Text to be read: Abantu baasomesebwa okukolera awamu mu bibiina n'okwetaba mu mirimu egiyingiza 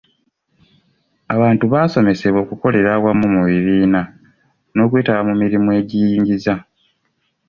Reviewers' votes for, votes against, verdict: 2, 0, accepted